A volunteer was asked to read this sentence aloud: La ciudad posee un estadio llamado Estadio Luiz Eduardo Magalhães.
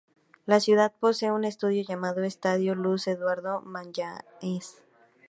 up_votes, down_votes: 0, 2